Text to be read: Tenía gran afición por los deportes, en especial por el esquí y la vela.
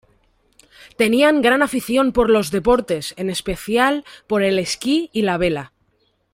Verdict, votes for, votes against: rejected, 0, 2